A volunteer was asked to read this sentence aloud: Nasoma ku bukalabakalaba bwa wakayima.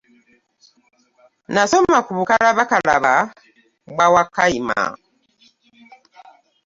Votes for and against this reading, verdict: 2, 0, accepted